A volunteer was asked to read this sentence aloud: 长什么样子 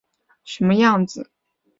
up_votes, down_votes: 3, 0